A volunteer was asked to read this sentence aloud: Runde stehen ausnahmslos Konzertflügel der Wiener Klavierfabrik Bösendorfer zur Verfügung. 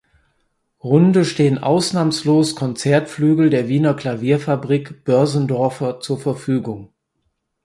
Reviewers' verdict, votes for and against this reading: rejected, 0, 4